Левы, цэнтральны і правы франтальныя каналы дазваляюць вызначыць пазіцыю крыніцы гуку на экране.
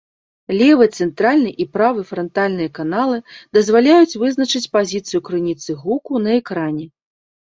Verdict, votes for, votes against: accepted, 2, 0